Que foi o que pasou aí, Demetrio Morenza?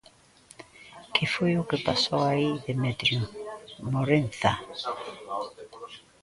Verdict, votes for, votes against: accepted, 2, 1